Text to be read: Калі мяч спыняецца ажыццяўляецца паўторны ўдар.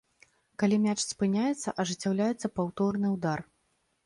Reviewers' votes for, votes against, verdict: 2, 0, accepted